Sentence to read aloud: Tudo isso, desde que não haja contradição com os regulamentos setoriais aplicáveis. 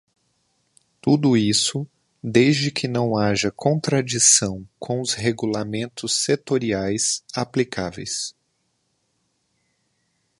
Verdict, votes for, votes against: accepted, 2, 0